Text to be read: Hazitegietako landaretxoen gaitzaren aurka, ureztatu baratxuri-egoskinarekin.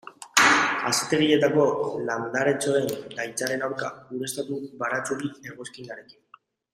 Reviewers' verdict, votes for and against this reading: accepted, 2, 0